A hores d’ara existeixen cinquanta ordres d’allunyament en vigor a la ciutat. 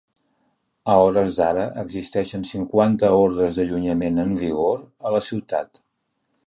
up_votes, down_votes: 2, 0